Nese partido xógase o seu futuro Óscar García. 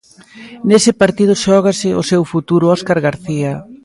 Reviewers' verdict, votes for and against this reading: accepted, 2, 0